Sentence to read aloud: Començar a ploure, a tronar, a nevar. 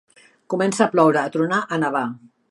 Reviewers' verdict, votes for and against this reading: accepted, 2, 1